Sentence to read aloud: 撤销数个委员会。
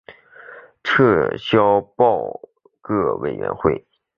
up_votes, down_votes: 1, 3